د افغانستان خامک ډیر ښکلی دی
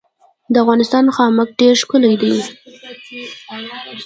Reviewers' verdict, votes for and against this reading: accepted, 2, 1